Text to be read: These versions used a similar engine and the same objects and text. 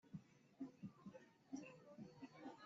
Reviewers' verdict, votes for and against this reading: rejected, 0, 2